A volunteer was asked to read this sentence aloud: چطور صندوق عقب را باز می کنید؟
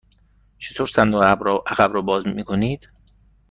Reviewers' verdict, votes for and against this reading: rejected, 1, 2